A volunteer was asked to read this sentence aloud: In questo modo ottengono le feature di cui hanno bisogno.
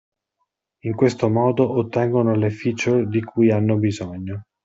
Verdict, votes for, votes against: accepted, 2, 0